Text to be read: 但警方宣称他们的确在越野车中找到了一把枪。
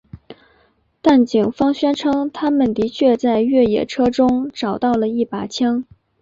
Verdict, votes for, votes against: accepted, 4, 1